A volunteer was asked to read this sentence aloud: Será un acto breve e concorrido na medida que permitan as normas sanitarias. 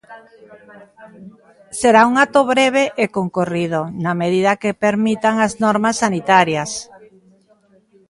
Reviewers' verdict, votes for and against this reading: rejected, 1, 2